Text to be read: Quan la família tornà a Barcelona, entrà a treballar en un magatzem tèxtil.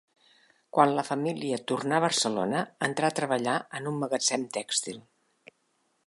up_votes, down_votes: 3, 0